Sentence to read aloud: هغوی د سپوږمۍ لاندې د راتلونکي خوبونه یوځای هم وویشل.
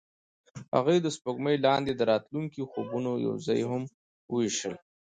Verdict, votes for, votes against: accepted, 2, 0